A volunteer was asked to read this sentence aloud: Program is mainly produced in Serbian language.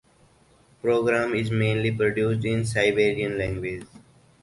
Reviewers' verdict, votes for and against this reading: rejected, 0, 4